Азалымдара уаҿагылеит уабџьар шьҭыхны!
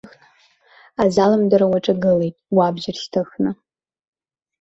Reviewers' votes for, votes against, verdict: 1, 2, rejected